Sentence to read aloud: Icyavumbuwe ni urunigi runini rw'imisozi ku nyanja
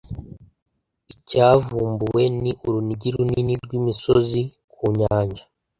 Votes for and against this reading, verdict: 2, 0, accepted